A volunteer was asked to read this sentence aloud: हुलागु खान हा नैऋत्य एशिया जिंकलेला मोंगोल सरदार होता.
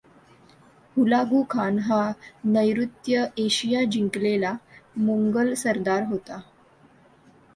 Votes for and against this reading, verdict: 2, 0, accepted